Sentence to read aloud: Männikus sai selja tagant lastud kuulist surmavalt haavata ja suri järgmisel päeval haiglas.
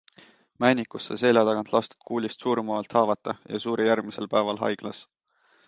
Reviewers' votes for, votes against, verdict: 2, 0, accepted